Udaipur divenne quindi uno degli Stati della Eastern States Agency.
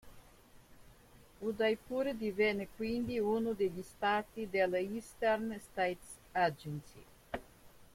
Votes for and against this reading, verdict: 2, 1, accepted